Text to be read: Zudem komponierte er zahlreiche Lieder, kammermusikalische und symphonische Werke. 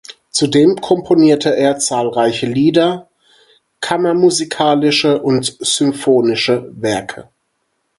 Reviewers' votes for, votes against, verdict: 4, 0, accepted